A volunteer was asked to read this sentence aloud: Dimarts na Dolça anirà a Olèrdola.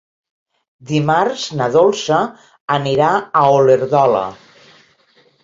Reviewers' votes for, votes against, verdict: 0, 2, rejected